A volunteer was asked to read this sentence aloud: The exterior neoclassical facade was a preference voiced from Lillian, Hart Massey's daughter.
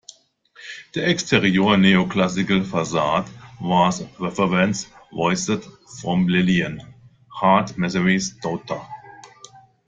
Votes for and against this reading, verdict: 0, 2, rejected